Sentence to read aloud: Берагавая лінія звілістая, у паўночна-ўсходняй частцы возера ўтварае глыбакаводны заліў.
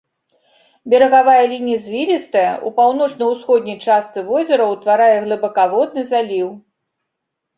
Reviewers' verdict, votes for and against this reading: accepted, 2, 0